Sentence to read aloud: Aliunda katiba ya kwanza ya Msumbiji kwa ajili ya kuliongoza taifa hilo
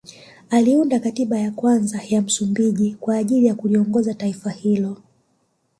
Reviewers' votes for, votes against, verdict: 1, 2, rejected